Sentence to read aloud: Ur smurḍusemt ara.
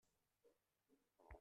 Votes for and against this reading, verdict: 0, 2, rejected